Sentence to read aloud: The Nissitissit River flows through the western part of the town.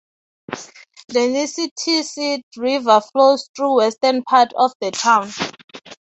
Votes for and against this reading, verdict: 3, 0, accepted